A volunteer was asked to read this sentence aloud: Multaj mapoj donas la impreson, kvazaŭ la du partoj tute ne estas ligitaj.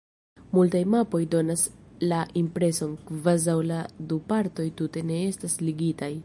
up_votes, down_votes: 2, 0